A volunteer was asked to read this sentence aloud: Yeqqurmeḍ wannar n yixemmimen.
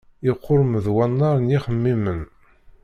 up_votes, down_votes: 1, 2